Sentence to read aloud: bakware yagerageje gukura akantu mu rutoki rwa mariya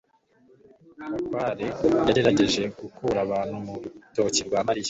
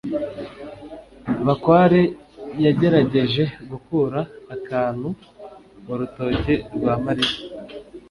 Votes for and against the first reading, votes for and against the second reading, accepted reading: 1, 2, 2, 0, second